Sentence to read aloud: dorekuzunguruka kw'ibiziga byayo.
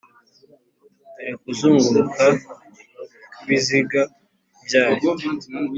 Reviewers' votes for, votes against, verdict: 2, 0, accepted